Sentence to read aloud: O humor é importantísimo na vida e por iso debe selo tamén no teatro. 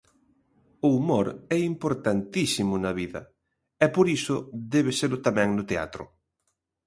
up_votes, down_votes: 2, 0